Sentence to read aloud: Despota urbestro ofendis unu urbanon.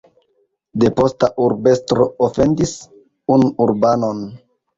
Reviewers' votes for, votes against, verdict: 2, 0, accepted